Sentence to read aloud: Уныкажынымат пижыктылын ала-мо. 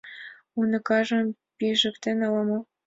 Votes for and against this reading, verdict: 1, 2, rejected